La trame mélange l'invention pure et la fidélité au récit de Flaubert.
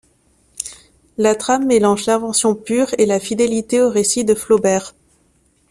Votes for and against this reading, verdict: 2, 0, accepted